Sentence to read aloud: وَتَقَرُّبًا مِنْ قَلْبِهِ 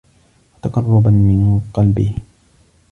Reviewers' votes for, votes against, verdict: 1, 3, rejected